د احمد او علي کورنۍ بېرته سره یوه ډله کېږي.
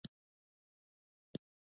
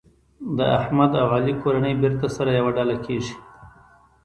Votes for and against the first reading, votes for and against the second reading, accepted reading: 0, 2, 3, 0, second